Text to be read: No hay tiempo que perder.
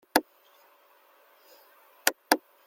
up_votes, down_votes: 0, 2